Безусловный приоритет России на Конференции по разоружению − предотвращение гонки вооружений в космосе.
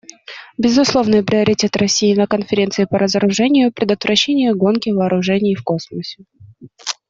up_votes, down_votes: 2, 0